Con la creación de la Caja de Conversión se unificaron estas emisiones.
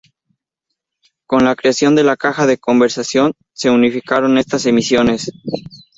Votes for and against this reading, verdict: 2, 2, rejected